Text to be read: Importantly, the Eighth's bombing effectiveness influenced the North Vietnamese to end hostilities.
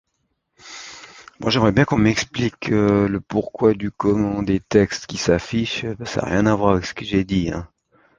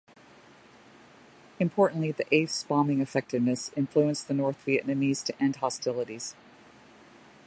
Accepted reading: second